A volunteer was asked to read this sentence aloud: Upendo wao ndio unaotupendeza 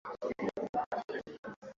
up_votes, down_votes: 0, 2